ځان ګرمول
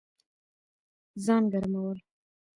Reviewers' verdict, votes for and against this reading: rejected, 0, 2